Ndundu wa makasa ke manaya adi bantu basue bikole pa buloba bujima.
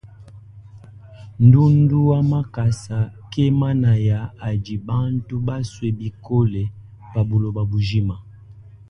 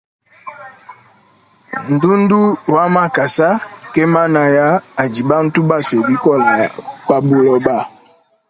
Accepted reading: first